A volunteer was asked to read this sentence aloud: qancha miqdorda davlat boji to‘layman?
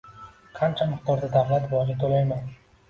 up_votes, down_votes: 0, 2